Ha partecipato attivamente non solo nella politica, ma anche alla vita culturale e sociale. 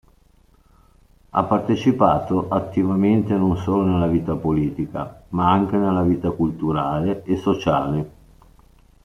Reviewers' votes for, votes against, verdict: 1, 2, rejected